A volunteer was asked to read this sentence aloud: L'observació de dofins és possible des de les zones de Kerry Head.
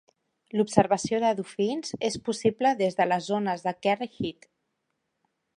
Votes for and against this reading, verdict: 2, 0, accepted